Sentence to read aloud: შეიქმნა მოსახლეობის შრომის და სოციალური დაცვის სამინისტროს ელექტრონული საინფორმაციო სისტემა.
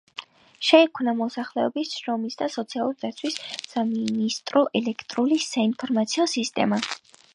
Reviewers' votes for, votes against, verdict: 2, 0, accepted